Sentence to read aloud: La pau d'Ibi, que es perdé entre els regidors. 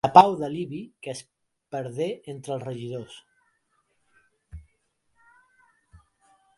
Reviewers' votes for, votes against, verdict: 1, 2, rejected